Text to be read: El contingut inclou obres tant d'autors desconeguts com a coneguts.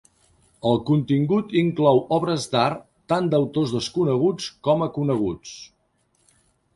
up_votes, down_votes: 1, 2